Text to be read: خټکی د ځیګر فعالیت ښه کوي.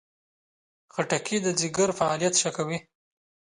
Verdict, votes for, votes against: accepted, 2, 0